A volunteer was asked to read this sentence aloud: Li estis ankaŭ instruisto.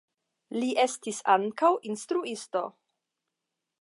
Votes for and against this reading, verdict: 10, 0, accepted